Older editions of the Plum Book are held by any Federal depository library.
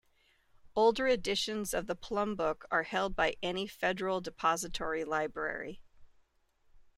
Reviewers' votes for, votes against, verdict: 2, 0, accepted